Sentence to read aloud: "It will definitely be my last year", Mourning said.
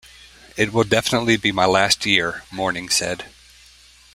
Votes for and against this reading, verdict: 2, 0, accepted